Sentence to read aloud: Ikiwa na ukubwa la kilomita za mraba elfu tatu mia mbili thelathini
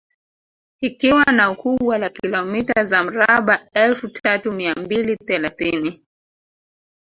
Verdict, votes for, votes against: rejected, 0, 2